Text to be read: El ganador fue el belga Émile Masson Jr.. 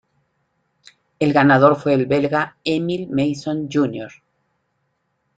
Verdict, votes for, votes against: accepted, 3, 0